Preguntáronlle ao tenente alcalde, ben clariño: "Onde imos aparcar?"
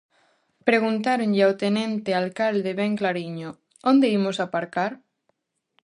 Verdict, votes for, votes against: accepted, 2, 0